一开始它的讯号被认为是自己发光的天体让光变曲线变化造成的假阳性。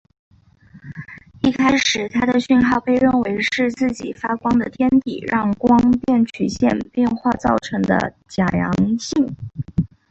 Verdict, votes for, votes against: accepted, 2, 1